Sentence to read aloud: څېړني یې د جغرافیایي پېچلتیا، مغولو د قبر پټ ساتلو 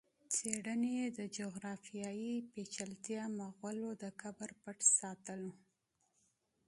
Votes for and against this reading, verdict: 2, 0, accepted